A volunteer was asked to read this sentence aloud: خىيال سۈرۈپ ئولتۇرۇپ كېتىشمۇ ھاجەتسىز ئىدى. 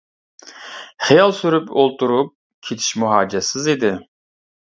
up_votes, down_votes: 2, 0